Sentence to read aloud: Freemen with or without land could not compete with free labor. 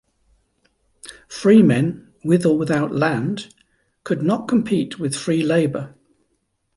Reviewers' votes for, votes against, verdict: 2, 0, accepted